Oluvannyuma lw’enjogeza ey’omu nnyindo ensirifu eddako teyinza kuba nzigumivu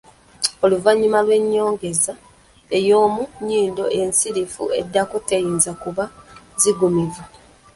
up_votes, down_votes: 1, 2